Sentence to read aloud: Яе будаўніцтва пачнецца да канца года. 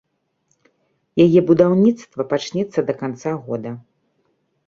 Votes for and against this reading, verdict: 2, 0, accepted